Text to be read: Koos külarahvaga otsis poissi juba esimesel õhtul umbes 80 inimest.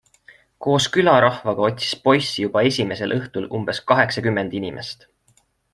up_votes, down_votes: 0, 2